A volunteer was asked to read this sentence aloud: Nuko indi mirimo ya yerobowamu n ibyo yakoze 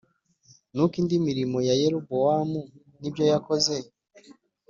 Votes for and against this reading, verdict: 4, 0, accepted